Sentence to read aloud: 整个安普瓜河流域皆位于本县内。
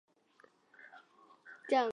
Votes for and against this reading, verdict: 0, 2, rejected